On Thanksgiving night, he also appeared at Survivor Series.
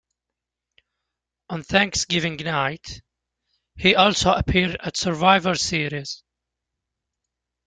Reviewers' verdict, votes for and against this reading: accepted, 2, 0